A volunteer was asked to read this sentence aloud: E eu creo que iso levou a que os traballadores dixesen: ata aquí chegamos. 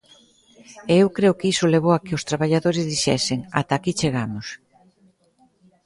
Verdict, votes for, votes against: accepted, 2, 0